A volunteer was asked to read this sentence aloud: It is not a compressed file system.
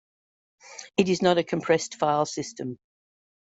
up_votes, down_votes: 2, 0